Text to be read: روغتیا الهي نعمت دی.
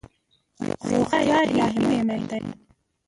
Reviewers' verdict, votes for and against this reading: rejected, 0, 2